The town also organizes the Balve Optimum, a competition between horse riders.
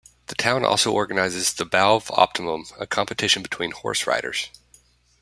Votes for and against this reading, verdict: 2, 0, accepted